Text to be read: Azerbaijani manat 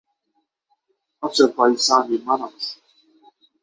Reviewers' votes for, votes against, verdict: 6, 3, accepted